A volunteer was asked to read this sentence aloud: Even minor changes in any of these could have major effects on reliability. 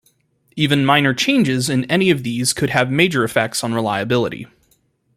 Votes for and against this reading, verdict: 2, 0, accepted